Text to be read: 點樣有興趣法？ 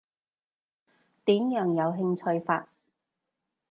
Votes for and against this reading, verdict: 2, 0, accepted